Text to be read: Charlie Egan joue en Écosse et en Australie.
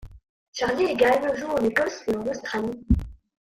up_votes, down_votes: 1, 2